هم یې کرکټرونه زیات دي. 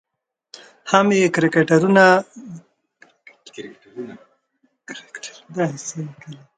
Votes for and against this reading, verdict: 1, 2, rejected